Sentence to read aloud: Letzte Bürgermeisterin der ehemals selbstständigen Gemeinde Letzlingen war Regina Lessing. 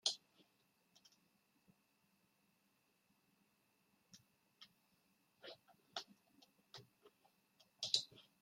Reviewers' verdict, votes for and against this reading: rejected, 0, 2